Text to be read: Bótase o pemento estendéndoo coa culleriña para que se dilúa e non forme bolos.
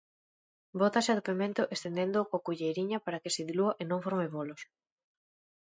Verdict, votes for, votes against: accepted, 2, 1